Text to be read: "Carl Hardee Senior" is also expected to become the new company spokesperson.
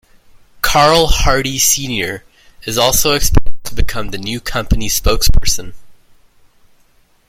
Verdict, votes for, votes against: rejected, 1, 2